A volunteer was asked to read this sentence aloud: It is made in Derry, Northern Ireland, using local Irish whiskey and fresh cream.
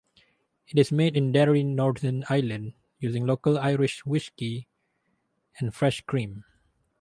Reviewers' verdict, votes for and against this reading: rejected, 2, 2